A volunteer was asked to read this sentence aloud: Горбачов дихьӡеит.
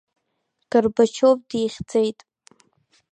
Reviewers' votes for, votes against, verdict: 3, 0, accepted